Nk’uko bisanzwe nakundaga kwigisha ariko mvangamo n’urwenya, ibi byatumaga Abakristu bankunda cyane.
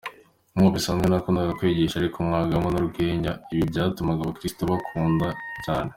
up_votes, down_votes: 3, 1